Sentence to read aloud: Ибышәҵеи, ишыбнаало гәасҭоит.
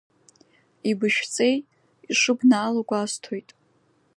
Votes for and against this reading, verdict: 2, 0, accepted